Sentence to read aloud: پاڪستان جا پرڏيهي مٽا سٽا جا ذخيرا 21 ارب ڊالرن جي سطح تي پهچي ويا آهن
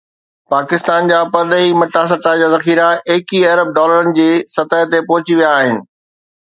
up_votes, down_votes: 0, 2